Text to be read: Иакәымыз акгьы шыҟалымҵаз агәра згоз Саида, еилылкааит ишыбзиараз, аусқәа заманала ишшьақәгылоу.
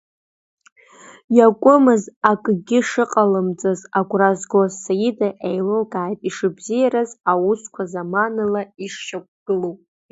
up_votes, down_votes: 2, 1